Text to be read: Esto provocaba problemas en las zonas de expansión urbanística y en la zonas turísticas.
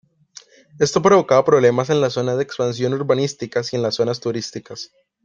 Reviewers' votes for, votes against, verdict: 1, 2, rejected